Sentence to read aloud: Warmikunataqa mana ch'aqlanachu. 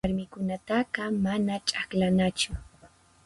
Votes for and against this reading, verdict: 4, 0, accepted